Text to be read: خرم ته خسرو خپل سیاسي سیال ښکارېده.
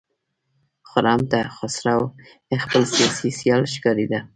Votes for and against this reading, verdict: 1, 2, rejected